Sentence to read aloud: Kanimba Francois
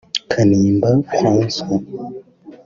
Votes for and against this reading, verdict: 3, 0, accepted